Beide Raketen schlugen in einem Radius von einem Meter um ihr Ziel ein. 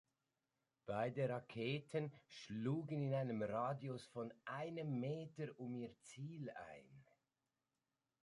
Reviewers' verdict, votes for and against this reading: accepted, 2, 1